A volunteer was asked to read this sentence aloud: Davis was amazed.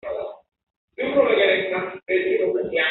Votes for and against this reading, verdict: 0, 3, rejected